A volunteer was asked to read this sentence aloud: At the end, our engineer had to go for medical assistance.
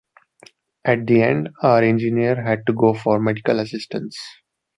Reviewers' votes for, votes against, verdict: 2, 0, accepted